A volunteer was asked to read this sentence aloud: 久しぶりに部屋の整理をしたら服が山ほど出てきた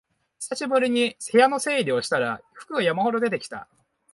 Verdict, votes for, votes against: accepted, 6, 0